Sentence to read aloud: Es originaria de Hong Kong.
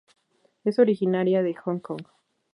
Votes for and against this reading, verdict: 2, 0, accepted